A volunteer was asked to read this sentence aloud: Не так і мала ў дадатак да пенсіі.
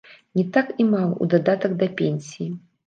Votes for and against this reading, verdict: 3, 0, accepted